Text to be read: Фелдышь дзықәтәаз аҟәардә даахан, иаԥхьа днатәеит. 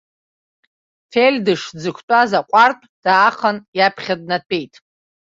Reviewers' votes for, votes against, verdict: 1, 2, rejected